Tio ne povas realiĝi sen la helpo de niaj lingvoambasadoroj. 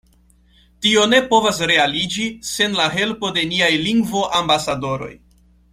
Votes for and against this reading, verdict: 2, 0, accepted